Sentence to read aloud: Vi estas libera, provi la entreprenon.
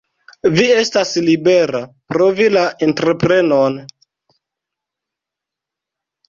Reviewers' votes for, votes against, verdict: 0, 2, rejected